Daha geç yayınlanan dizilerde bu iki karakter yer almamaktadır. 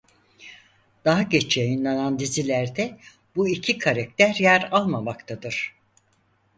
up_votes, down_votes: 4, 0